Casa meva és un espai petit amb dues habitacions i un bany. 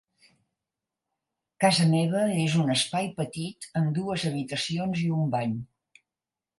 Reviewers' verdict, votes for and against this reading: accepted, 6, 0